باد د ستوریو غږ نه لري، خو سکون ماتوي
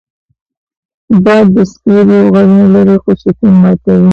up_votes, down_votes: 0, 2